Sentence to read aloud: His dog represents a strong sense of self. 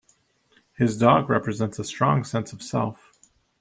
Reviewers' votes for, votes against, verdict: 2, 0, accepted